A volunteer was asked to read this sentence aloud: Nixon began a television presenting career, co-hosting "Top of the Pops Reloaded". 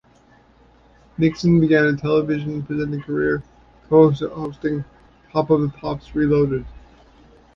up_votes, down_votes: 1, 2